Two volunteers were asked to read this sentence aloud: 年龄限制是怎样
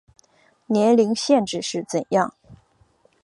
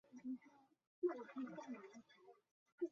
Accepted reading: first